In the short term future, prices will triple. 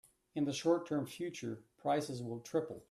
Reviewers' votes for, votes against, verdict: 2, 0, accepted